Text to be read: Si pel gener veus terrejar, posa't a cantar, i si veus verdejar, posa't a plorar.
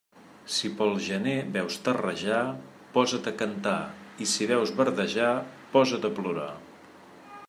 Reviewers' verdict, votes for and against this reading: accepted, 2, 0